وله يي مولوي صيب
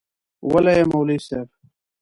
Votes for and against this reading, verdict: 2, 0, accepted